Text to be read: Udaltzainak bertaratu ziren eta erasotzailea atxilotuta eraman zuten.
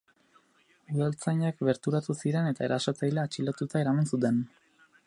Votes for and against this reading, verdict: 2, 2, rejected